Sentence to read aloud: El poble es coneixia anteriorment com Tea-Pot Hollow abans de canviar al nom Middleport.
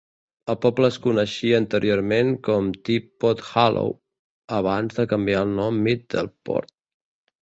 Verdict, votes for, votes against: rejected, 0, 2